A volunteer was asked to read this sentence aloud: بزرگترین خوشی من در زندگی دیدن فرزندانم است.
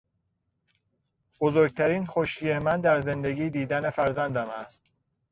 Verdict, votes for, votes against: rejected, 0, 2